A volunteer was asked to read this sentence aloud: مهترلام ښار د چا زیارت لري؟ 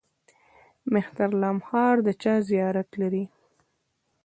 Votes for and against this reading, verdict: 0, 2, rejected